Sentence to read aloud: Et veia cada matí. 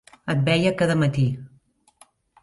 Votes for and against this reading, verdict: 3, 0, accepted